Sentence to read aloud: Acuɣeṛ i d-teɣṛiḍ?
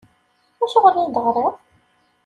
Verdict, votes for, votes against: accepted, 2, 0